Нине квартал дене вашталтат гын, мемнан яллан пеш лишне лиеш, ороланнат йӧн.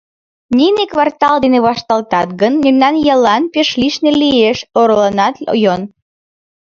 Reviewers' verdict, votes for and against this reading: rejected, 1, 2